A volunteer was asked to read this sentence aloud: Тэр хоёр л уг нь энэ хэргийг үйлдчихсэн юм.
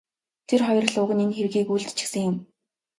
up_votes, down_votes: 3, 1